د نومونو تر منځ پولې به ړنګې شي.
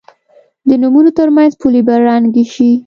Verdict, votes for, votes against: accepted, 3, 0